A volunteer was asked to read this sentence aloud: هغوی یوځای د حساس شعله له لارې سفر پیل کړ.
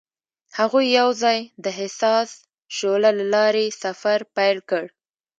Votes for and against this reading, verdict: 2, 0, accepted